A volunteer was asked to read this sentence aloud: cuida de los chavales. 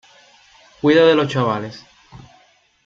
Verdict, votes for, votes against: rejected, 1, 2